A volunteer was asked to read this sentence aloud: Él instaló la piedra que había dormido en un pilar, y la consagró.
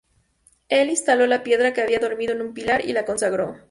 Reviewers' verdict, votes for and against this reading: accepted, 2, 0